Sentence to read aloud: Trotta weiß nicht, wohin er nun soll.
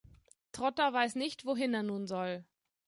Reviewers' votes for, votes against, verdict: 3, 0, accepted